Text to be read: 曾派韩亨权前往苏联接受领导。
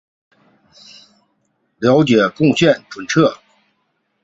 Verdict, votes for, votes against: rejected, 0, 2